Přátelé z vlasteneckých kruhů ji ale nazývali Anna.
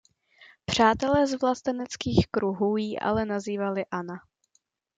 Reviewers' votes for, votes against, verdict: 2, 1, accepted